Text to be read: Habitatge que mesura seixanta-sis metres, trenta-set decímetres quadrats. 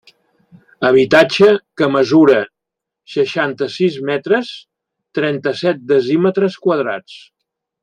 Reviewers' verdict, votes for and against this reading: rejected, 0, 2